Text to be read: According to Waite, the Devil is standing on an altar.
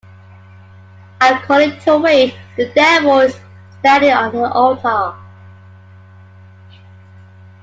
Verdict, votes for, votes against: rejected, 0, 2